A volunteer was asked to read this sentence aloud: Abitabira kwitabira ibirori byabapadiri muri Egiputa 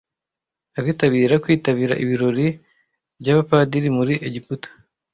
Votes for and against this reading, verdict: 2, 0, accepted